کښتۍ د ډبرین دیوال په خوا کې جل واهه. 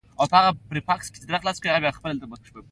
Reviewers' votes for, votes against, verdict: 3, 2, accepted